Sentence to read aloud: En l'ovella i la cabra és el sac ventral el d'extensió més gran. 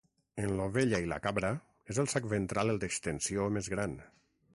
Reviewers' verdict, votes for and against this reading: accepted, 9, 0